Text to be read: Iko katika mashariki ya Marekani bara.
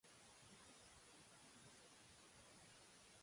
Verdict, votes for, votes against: rejected, 0, 2